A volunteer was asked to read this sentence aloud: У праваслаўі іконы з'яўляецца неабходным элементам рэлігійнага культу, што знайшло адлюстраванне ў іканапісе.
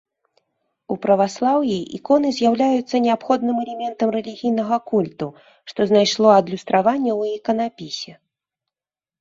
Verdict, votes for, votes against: accepted, 2, 0